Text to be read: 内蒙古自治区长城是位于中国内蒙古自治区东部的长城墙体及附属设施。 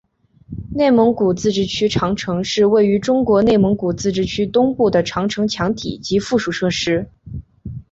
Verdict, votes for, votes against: accepted, 2, 0